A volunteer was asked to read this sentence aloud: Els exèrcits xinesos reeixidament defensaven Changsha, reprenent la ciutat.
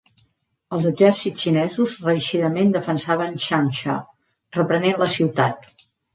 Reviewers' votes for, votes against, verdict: 2, 0, accepted